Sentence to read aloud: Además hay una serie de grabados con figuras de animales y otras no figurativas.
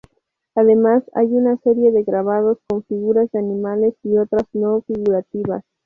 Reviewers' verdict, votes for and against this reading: accepted, 2, 0